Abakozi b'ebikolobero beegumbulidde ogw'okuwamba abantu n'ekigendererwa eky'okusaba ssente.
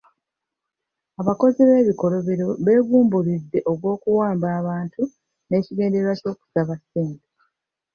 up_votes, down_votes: 1, 2